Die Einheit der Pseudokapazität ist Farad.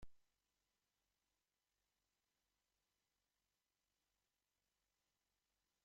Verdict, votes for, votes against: rejected, 0, 2